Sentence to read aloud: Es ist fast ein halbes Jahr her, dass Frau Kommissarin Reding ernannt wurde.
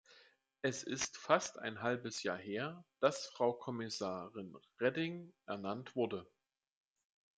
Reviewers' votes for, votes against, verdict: 2, 0, accepted